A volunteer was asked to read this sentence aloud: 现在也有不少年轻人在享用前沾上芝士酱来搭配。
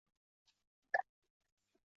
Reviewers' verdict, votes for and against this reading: rejected, 0, 2